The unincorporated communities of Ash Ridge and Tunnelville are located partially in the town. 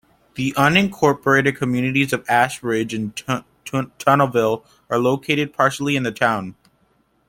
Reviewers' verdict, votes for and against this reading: rejected, 1, 2